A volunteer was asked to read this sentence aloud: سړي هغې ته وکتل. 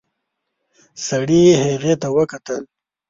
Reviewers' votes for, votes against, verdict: 2, 0, accepted